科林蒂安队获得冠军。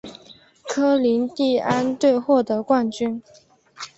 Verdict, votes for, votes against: accepted, 6, 0